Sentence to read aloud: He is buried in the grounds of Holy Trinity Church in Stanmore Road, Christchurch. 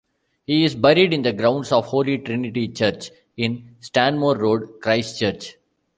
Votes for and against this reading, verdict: 2, 0, accepted